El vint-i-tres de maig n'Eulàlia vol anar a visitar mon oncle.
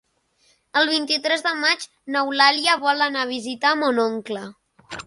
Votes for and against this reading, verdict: 3, 0, accepted